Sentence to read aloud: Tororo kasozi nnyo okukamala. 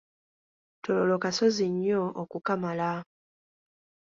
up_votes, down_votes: 2, 0